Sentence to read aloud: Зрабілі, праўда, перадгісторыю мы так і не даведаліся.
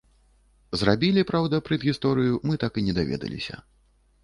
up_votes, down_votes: 1, 2